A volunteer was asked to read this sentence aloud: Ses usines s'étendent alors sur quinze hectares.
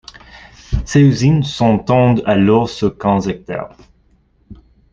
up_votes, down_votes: 1, 2